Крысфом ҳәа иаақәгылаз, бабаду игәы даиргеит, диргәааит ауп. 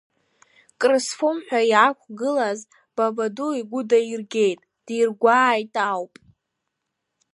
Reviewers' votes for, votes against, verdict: 2, 0, accepted